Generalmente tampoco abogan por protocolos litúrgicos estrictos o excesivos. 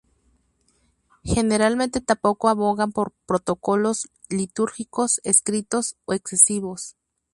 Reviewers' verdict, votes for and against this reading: rejected, 0, 2